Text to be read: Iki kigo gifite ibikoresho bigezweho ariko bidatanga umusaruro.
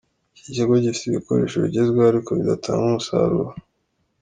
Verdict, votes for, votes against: accepted, 2, 0